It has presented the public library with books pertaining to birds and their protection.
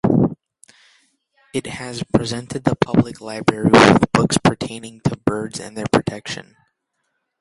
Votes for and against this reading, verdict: 2, 0, accepted